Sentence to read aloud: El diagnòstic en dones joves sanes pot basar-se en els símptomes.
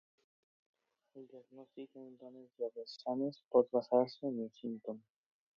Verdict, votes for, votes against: rejected, 0, 2